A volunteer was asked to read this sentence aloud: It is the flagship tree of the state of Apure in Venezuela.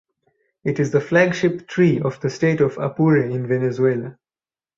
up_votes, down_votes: 2, 2